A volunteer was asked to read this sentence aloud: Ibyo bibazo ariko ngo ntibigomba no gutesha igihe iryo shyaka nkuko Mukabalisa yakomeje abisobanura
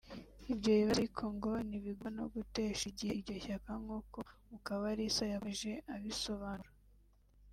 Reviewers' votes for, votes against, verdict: 0, 2, rejected